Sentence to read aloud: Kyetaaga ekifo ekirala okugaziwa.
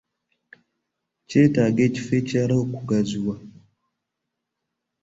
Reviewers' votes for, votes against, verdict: 2, 1, accepted